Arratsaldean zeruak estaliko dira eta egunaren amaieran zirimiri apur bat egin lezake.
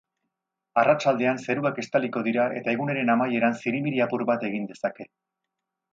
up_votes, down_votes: 0, 2